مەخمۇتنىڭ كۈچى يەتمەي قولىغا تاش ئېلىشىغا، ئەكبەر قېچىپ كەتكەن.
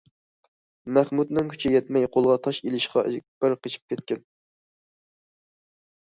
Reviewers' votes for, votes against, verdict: 0, 2, rejected